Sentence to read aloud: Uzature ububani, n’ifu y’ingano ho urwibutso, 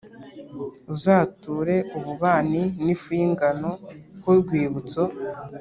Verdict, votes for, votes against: accepted, 3, 0